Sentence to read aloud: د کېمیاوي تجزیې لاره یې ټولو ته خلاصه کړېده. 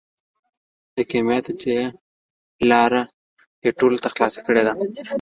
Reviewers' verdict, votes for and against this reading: rejected, 1, 2